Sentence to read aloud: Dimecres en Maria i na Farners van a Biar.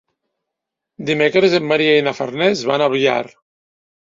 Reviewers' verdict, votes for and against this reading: accepted, 2, 1